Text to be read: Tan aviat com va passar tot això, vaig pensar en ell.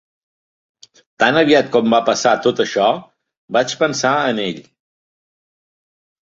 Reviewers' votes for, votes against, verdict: 2, 0, accepted